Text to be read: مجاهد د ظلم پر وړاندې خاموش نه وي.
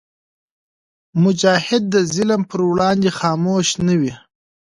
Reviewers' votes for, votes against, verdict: 3, 0, accepted